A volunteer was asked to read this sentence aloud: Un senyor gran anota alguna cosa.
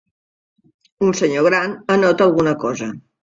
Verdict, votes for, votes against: accepted, 3, 0